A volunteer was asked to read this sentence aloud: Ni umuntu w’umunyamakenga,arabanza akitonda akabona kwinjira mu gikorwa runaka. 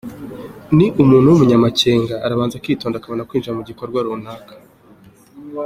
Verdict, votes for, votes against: accepted, 2, 0